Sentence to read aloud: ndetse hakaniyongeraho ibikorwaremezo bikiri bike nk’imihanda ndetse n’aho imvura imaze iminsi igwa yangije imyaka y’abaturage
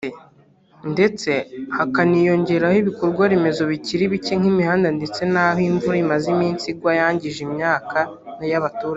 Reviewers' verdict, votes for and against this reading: rejected, 1, 2